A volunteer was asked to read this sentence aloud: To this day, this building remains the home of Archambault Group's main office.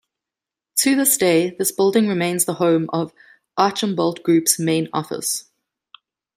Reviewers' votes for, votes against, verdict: 2, 0, accepted